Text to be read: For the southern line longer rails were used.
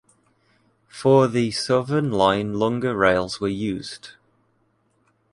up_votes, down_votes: 2, 0